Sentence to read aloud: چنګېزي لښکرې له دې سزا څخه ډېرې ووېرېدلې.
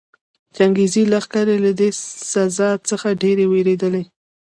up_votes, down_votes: 2, 0